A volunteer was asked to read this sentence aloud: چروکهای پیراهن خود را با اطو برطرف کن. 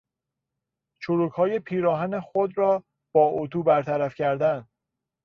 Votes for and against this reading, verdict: 0, 2, rejected